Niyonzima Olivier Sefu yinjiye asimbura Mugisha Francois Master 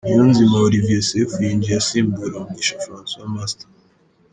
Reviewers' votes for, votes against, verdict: 3, 1, accepted